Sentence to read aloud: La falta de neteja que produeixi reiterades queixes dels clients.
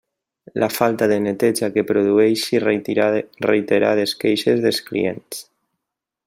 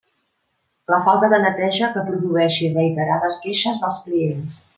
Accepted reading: second